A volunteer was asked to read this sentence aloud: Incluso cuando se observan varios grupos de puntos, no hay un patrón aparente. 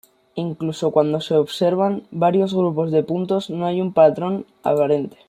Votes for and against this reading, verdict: 2, 0, accepted